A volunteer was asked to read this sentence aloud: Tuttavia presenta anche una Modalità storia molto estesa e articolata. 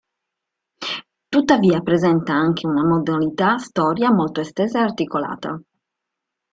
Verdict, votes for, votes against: accepted, 2, 0